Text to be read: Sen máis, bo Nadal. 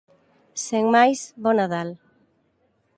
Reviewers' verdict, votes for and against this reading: accepted, 2, 0